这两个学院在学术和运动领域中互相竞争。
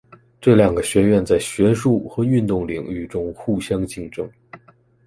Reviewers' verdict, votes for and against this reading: accepted, 2, 0